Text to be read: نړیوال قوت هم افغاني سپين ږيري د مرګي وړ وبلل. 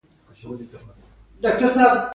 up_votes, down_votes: 2, 1